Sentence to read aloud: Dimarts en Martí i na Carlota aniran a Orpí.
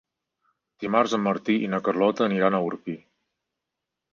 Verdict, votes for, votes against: accepted, 4, 0